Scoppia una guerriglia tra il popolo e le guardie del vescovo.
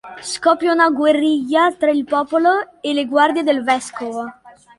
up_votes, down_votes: 3, 0